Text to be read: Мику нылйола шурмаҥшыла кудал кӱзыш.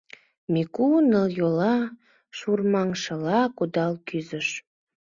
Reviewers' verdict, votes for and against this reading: accepted, 2, 0